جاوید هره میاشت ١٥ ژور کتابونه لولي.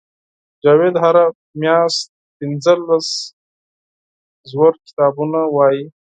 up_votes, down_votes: 0, 2